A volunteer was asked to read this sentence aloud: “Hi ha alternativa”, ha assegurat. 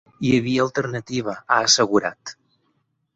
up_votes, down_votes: 2, 4